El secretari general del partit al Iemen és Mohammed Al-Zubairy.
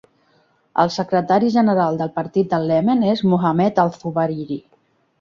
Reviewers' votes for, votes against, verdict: 1, 2, rejected